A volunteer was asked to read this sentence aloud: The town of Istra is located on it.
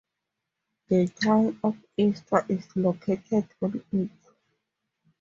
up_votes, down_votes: 4, 0